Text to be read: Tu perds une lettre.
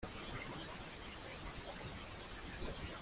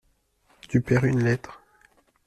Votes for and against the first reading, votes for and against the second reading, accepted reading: 0, 2, 2, 0, second